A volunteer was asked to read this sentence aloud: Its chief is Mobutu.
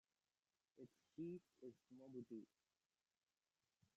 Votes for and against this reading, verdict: 0, 2, rejected